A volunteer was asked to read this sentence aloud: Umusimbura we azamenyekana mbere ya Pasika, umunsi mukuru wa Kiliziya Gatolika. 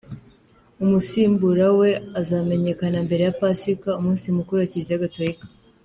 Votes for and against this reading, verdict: 2, 0, accepted